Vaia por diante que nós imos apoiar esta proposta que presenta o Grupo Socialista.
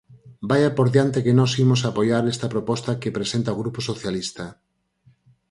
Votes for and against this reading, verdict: 4, 0, accepted